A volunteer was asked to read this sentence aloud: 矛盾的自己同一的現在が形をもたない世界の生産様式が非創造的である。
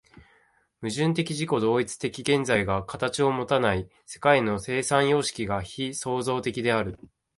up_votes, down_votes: 2, 0